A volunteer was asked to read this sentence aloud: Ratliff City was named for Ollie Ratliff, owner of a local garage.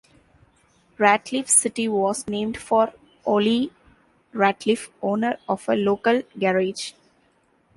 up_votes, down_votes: 2, 0